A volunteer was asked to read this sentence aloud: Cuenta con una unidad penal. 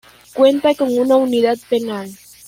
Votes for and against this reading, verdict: 2, 0, accepted